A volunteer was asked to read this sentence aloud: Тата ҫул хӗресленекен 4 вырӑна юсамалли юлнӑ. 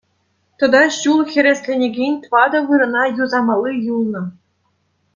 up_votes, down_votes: 0, 2